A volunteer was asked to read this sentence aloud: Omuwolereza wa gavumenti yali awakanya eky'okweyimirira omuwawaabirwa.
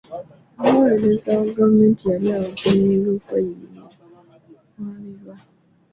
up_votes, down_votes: 1, 2